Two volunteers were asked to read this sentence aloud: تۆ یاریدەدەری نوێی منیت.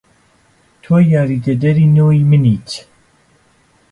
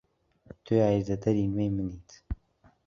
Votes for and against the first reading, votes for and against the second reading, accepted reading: 1, 2, 2, 0, second